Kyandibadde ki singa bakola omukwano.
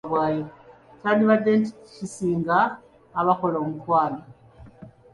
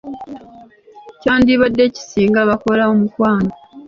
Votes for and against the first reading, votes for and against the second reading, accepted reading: 1, 2, 2, 0, second